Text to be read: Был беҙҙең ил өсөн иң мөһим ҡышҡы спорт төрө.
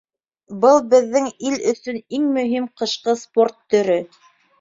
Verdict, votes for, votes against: accepted, 2, 0